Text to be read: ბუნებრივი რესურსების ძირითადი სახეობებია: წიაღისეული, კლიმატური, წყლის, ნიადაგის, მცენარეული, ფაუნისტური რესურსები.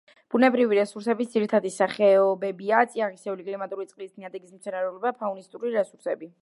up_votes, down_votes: 1, 2